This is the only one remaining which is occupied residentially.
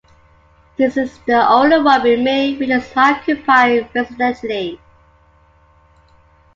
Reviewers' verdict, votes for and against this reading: accepted, 2, 1